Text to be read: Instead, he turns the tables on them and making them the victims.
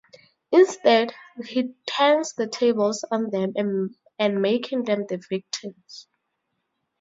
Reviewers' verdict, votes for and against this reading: accepted, 2, 0